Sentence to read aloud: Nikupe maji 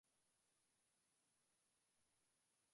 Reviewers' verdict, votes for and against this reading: rejected, 1, 4